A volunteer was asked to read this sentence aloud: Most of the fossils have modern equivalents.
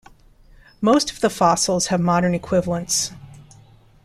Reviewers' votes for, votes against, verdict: 2, 0, accepted